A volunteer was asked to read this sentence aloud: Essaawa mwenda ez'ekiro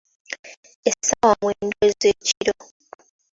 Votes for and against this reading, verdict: 3, 1, accepted